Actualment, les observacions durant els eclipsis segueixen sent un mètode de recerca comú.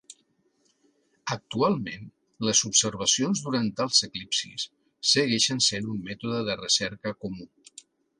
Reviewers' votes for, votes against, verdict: 4, 0, accepted